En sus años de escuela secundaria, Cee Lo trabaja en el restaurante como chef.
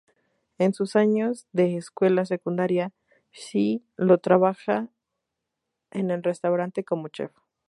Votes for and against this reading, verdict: 2, 2, rejected